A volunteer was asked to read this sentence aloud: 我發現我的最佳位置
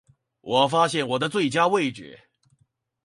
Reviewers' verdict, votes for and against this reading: rejected, 2, 2